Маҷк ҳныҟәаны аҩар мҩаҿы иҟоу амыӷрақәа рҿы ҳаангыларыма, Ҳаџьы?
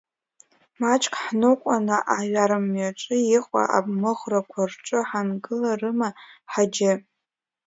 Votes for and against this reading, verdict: 0, 2, rejected